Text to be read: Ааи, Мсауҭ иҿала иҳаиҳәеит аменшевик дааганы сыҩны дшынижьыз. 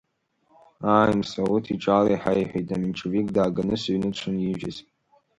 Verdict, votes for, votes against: rejected, 2, 3